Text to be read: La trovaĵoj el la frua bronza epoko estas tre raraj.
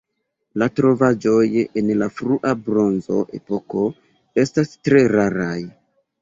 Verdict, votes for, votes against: rejected, 0, 2